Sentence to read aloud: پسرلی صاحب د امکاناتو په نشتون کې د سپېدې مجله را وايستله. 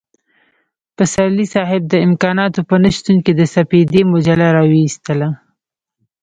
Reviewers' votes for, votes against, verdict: 2, 0, accepted